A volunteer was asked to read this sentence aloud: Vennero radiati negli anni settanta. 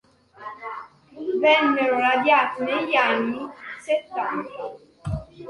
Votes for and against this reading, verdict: 2, 1, accepted